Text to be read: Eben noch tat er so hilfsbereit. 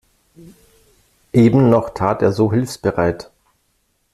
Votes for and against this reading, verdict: 2, 0, accepted